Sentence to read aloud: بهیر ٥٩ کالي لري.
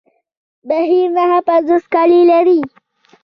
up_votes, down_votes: 0, 2